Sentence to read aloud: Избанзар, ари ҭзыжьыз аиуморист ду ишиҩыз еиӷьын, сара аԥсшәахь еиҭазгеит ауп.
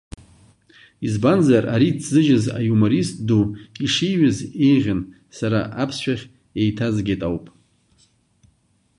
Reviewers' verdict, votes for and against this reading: accepted, 2, 0